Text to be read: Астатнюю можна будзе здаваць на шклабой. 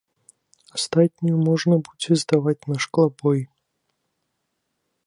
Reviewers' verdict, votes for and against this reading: accepted, 2, 0